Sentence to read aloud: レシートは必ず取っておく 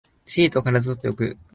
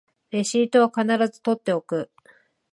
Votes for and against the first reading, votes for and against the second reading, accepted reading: 1, 2, 4, 0, second